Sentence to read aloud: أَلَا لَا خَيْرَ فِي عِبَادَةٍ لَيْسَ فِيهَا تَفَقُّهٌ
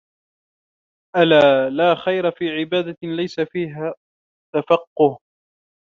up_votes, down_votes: 2, 0